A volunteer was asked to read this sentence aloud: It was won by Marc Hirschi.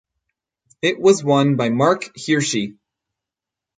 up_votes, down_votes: 4, 0